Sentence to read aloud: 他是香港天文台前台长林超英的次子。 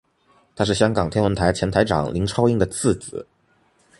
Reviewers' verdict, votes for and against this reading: accepted, 2, 0